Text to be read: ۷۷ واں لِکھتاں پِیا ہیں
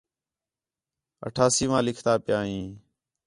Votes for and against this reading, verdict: 0, 2, rejected